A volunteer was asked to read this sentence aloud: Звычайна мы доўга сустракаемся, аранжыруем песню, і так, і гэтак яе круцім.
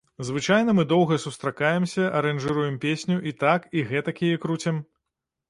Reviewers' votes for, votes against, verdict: 2, 0, accepted